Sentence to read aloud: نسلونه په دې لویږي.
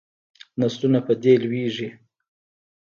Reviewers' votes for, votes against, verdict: 2, 0, accepted